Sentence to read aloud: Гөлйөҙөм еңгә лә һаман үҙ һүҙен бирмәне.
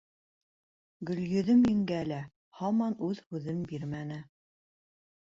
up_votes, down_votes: 2, 0